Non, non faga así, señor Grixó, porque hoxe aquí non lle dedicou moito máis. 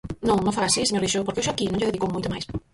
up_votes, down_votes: 0, 4